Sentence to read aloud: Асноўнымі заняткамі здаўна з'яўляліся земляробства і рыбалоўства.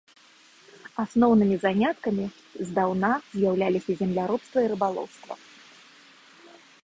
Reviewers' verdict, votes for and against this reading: accepted, 2, 0